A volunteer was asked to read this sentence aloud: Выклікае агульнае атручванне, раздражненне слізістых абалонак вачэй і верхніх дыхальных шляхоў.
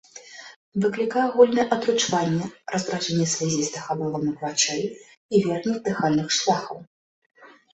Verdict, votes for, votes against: rejected, 1, 2